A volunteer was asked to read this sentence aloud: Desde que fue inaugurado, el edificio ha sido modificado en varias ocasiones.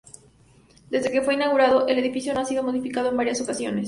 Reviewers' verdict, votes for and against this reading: accepted, 2, 0